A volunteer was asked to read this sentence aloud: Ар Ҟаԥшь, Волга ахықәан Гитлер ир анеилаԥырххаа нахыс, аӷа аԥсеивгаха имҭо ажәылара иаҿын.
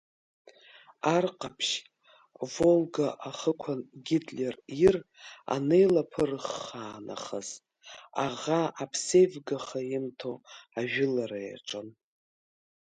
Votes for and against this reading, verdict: 2, 0, accepted